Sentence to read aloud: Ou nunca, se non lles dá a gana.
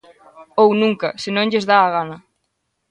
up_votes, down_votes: 2, 0